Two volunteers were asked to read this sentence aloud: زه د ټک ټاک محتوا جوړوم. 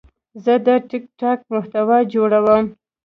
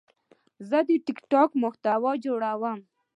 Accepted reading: second